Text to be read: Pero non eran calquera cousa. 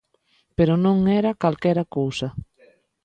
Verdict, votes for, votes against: rejected, 0, 2